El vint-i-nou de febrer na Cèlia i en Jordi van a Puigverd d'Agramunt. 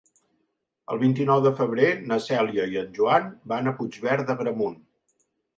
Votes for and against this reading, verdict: 0, 2, rejected